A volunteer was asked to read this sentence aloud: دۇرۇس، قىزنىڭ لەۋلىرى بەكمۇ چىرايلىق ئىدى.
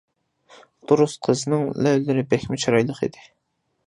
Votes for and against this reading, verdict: 2, 0, accepted